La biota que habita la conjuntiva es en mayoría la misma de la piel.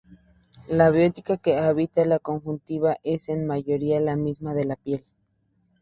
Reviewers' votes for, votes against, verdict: 2, 0, accepted